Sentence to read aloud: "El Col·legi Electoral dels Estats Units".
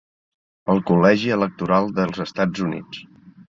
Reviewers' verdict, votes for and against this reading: accepted, 3, 0